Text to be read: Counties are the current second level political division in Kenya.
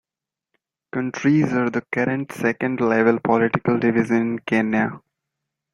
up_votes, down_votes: 2, 0